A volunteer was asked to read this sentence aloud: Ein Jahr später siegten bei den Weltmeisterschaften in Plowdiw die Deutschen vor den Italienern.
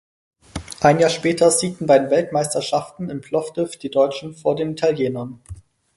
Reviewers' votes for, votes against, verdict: 4, 0, accepted